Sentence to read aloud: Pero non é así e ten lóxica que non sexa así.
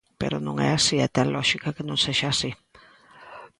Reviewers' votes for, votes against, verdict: 2, 0, accepted